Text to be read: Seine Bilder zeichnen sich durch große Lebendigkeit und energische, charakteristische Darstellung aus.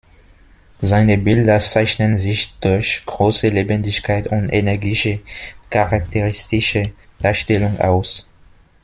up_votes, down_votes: 2, 0